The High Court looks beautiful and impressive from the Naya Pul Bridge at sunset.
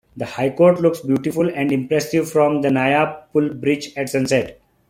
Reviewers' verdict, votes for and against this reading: accepted, 2, 0